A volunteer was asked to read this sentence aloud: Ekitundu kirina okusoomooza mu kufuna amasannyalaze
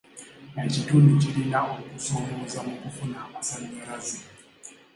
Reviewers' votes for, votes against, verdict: 0, 2, rejected